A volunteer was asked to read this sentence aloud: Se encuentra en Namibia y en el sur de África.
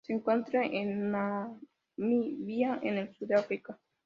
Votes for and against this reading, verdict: 0, 2, rejected